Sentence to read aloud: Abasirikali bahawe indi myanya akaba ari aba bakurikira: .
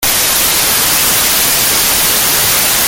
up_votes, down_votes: 0, 2